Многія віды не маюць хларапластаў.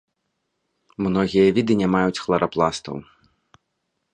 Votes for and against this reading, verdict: 2, 0, accepted